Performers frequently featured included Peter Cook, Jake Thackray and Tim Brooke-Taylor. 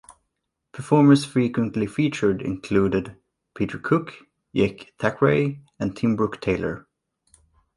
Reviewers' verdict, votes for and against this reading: rejected, 0, 2